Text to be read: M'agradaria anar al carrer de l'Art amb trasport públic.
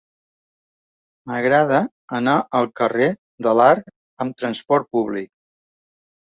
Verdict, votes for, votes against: rejected, 1, 2